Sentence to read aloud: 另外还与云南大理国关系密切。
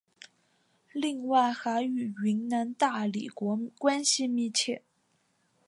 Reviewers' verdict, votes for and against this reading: accepted, 2, 0